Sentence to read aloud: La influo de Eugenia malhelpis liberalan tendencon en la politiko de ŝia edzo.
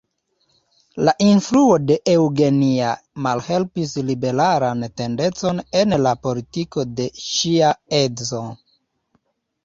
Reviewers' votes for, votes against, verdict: 2, 0, accepted